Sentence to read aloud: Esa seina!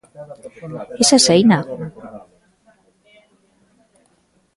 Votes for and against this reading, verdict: 1, 2, rejected